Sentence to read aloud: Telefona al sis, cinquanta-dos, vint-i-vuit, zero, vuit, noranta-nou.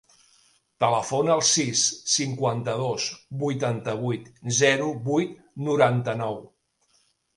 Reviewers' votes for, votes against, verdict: 0, 2, rejected